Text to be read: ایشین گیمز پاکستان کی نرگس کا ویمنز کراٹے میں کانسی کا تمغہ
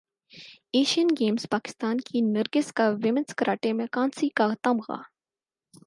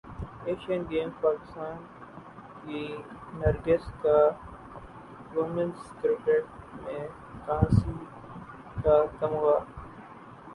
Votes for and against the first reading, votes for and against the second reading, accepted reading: 4, 0, 0, 2, first